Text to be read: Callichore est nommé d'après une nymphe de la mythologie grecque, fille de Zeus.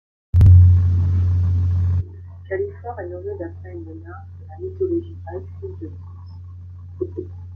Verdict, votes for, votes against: rejected, 0, 2